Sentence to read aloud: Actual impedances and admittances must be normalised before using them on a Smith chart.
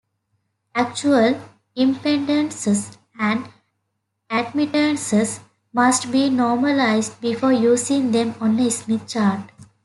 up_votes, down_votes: 0, 2